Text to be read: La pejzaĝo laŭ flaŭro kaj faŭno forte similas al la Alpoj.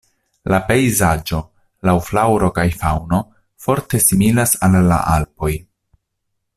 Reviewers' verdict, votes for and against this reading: rejected, 0, 2